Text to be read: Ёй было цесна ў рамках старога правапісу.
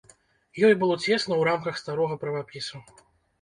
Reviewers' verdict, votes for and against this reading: rejected, 1, 2